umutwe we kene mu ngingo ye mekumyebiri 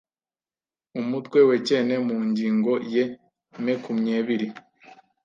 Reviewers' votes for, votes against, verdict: 1, 2, rejected